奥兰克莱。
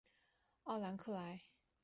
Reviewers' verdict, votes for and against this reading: accepted, 2, 1